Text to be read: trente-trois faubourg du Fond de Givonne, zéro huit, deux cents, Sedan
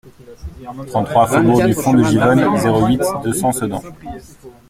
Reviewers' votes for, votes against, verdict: 0, 2, rejected